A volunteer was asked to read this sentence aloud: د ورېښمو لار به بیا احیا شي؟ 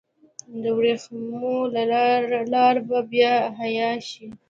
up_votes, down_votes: 1, 2